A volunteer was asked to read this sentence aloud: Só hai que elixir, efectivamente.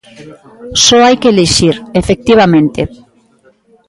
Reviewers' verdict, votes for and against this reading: accepted, 2, 0